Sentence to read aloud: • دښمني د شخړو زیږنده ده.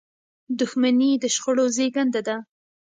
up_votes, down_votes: 2, 0